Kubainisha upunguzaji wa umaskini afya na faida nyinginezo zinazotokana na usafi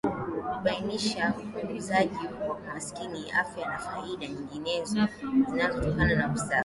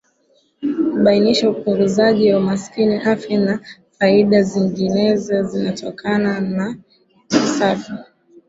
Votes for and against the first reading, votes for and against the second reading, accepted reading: 2, 1, 2, 2, first